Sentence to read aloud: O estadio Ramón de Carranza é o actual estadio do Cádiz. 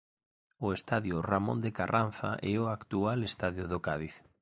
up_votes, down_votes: 2, 0